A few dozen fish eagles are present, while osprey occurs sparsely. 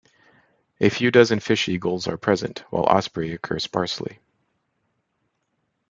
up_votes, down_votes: 0, 2